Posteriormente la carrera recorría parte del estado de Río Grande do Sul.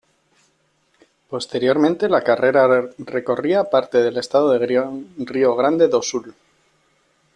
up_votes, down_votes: 2, 1